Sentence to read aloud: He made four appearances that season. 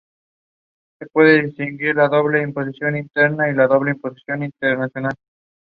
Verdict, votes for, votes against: rejected, 0, 2